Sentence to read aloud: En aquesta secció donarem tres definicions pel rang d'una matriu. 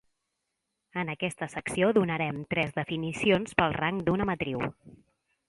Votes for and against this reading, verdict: 3, 0, accepted